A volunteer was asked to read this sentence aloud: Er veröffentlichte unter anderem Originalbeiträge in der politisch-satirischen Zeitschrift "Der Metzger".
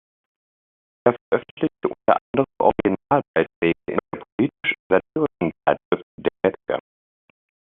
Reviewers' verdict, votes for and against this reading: rejected, 0, 2